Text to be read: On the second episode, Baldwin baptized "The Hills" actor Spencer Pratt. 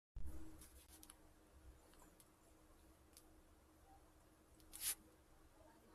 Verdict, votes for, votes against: rejected, 0, 2